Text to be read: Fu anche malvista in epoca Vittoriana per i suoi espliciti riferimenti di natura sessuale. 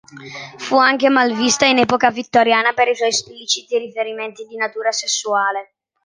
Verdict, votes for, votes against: accepted, 2, 0